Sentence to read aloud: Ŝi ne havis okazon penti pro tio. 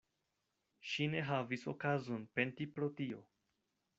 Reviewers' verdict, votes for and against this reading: accepted, 2, 0